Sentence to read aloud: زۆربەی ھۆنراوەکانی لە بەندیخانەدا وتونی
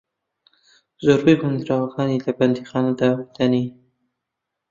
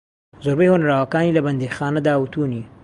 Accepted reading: second